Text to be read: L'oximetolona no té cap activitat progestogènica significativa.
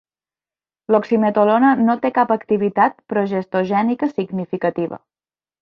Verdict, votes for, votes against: accepted, 2, 0